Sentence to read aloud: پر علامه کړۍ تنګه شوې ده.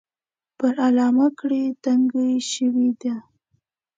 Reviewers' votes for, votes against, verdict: 2, 0, accepted